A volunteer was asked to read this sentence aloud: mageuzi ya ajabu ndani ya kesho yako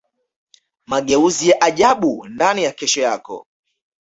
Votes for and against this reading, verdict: 2, 0, accepted